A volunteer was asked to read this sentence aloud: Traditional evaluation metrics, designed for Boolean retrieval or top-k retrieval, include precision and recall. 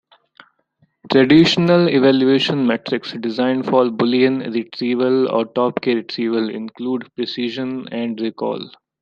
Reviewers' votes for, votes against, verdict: 2, 1, accepted